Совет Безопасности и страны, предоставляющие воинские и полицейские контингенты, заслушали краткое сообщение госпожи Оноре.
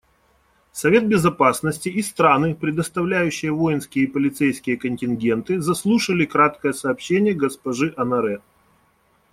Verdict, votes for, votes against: accepted, 2, 0